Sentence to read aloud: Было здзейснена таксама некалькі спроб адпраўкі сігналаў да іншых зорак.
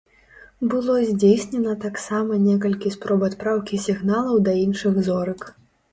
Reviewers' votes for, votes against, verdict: 2, 0, accepted